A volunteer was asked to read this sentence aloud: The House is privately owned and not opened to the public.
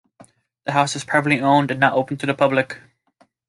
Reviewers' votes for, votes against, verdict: 3, 0, accepted